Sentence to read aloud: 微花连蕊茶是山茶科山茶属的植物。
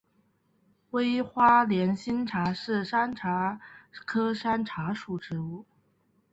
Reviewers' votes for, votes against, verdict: 1, 3, rejected